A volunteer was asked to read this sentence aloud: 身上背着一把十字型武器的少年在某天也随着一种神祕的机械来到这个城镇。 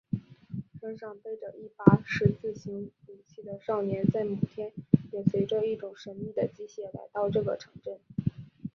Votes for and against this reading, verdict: 3, 4, rejected